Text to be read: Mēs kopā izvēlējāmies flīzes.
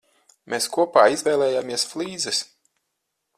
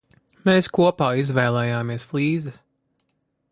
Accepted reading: first